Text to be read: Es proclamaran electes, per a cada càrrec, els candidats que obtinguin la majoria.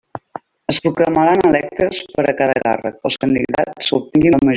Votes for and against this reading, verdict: 0, 2, rejected